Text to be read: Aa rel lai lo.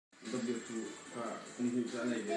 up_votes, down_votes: 0, 2